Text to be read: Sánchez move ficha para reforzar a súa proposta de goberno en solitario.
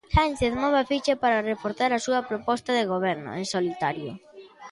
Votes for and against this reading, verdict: 2, 0, accepted